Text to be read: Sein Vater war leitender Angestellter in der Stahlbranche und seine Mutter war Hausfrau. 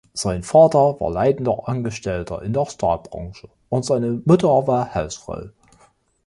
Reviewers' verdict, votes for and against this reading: rejected, 1, 2